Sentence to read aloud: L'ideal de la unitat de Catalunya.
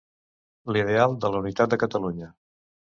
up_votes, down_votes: 2, 0